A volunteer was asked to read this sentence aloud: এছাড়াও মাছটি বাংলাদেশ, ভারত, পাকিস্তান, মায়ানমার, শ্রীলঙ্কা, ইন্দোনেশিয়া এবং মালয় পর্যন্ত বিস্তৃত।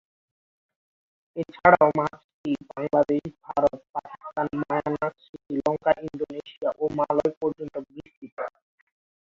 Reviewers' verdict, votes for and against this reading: rejected, 1, 3